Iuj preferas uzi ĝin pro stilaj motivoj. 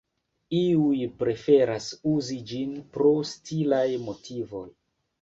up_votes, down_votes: 2, 1